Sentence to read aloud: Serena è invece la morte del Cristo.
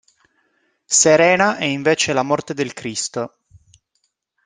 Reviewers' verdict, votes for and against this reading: accepted, 2, 0